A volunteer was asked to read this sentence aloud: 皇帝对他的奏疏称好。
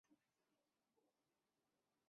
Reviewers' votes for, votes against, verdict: 1, 2, rejected